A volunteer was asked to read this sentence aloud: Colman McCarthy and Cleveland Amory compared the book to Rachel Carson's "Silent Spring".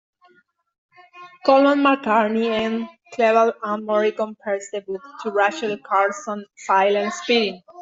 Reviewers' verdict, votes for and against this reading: rejected, 0, 2